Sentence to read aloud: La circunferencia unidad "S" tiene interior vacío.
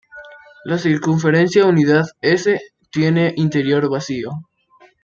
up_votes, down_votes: 2, 0